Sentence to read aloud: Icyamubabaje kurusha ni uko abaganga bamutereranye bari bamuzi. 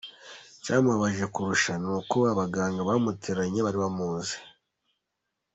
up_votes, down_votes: 2, 0